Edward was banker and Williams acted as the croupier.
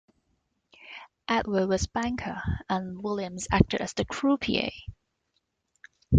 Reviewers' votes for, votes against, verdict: 2, 1, accepted